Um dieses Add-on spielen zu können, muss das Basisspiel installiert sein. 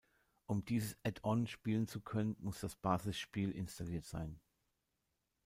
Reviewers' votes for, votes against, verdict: 3, 0, accepted